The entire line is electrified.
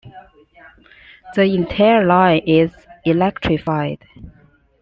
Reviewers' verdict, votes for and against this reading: accepted, 2, 1